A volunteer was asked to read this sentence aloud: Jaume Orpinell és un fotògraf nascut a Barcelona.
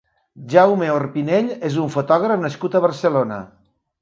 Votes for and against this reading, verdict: 3, 0, accepted